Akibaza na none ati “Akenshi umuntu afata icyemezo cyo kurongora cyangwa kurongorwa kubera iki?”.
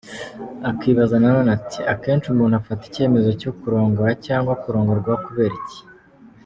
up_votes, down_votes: 2, 0